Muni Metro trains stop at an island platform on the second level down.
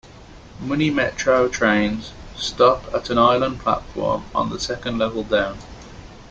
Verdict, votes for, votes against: accepted, 2, 0